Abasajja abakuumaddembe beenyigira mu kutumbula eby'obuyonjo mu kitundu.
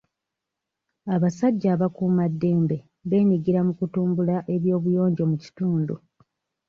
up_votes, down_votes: 2, 0